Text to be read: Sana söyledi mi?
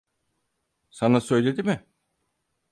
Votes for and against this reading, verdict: 4, 0, accepted